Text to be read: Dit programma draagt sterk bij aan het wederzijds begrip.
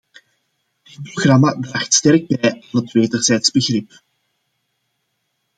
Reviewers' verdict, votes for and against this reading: rejected, 0, 2